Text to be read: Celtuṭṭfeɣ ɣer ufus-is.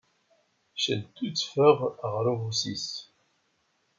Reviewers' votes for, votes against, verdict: 1, 2, rejected